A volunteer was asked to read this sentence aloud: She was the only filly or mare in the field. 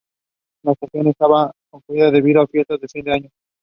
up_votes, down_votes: 0, 2